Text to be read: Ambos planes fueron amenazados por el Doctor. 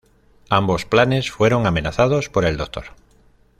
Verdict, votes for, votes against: accepted, 2, 0